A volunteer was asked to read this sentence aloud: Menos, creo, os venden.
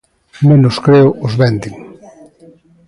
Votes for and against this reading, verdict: 2, 0, accepted